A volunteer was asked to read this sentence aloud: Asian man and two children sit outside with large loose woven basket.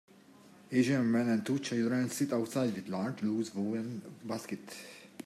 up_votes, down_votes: 2, 0